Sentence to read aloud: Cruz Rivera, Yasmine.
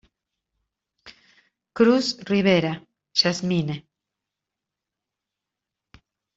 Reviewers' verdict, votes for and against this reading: accepted, 2, 0